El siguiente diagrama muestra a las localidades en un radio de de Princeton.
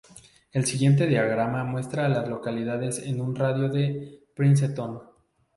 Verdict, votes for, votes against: rejected, 0, 2